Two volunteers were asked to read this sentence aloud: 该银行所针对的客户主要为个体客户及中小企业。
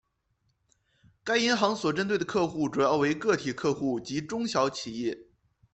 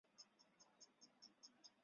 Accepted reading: first